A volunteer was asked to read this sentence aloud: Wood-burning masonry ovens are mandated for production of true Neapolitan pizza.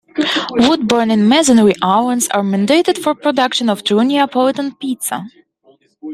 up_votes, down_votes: 1, 2